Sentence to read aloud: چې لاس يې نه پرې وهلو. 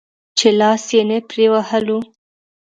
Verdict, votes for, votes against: accepted, 2, 0